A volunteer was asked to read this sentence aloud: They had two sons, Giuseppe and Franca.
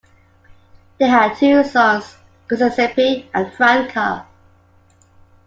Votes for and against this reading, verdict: 2, 0, accepted